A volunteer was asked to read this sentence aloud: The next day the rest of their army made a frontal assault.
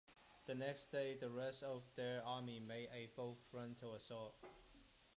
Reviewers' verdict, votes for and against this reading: rejected, 0, 2